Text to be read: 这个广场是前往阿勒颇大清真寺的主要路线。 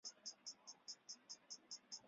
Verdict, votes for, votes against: rejected, 1, 3